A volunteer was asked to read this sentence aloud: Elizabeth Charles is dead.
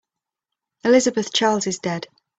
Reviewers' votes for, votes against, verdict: 2, 0, accepted